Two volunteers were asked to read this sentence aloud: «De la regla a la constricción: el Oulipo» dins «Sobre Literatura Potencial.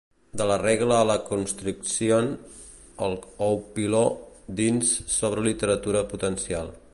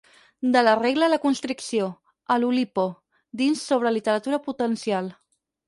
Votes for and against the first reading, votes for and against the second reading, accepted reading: 2, 1, 2, 4, first